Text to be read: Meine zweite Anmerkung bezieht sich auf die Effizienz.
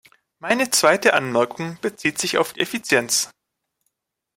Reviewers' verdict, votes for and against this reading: rejected, 0, 2